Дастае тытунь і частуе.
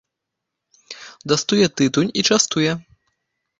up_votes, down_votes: 0, 2